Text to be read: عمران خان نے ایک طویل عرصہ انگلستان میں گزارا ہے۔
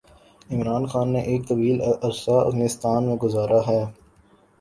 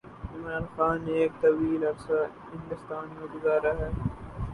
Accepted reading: first